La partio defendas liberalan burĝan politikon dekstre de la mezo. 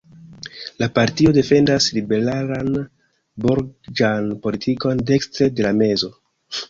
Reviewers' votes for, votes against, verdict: 0, 2, rejected